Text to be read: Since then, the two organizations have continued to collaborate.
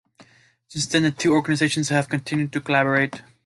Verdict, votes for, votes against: rejected, 1, 2